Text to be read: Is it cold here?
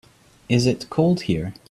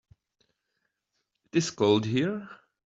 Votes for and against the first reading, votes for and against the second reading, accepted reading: 2, 0, 0, 2, first